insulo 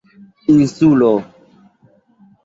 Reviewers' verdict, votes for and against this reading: accepted, 2, 0